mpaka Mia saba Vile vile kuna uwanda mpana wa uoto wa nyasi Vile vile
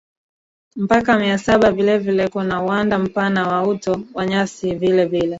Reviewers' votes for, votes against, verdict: 1, 2, rejected